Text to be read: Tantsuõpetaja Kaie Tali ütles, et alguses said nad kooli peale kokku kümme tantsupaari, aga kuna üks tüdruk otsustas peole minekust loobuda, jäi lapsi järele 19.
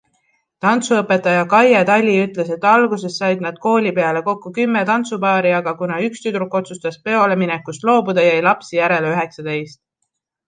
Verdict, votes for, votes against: rejected, 0, 2